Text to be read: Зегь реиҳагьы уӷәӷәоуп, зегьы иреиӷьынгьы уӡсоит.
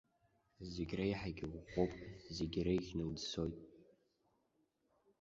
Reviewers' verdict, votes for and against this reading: rejected, 1, 2